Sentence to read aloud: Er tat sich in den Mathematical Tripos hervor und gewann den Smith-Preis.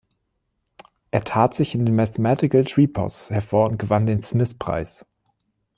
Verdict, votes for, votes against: accepted, 2, 1